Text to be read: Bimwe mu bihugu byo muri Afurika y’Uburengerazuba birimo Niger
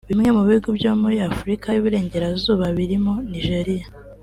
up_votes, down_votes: 2, 1